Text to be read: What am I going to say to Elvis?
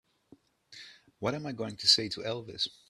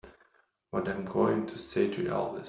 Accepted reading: first